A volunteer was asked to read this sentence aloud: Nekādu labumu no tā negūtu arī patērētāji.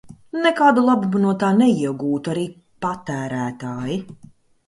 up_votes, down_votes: 0, 2